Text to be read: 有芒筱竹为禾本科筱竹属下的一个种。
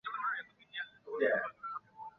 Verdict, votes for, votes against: accepted, 3, 2